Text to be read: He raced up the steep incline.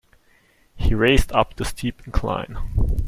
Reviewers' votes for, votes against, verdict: 2, 0, accepted